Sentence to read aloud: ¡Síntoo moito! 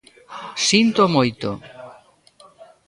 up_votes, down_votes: 1, 2